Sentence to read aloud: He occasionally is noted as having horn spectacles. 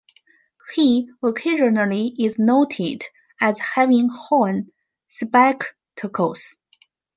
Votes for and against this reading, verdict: 2, 1, accepted